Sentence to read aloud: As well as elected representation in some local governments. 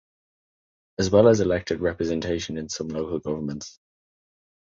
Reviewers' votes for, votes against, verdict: 2, 0, accepted